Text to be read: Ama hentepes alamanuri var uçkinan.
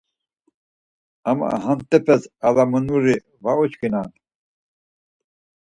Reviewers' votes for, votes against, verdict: 2, 4, rejected